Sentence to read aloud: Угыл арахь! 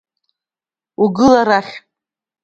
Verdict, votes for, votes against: accepted, 2, 0